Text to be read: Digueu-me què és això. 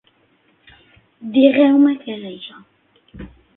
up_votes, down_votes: 3, 6